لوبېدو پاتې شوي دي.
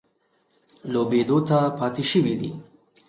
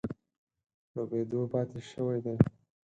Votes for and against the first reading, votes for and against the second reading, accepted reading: 2, 0, 2, 4, first